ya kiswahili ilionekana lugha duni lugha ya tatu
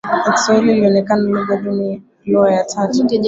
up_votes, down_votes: 1, 2